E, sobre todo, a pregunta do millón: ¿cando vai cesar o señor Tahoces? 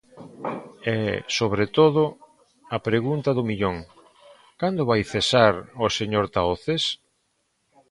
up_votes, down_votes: 2, 0